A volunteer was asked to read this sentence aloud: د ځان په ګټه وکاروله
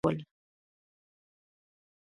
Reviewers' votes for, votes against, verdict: 1, 2, rejected